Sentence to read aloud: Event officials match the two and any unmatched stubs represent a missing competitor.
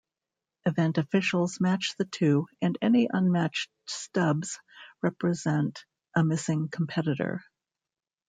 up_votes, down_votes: 1, 2